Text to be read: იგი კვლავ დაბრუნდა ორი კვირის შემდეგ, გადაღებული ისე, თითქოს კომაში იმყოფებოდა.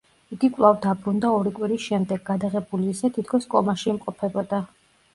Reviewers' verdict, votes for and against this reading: accepted, 2, 0